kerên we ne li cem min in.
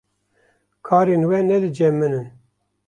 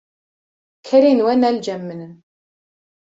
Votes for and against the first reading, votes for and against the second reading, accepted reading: 1, 2, 2, 1, second